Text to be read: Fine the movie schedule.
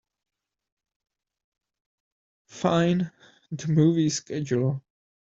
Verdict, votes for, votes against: accepted, 2, 0